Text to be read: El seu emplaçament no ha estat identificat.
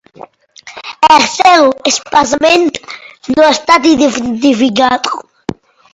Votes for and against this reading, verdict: 0, 2, rejected